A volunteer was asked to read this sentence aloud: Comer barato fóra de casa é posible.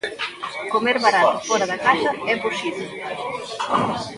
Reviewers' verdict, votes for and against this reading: rejected, 0, 2